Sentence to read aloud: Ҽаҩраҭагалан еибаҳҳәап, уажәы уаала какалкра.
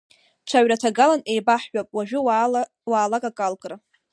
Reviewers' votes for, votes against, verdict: 0, 2, rejected